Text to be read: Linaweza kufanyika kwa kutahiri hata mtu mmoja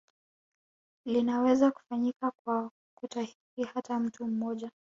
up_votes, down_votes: 2, 1